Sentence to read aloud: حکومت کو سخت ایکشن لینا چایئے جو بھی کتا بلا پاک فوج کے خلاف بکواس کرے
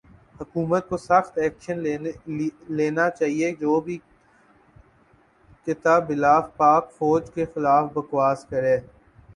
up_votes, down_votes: 0, 2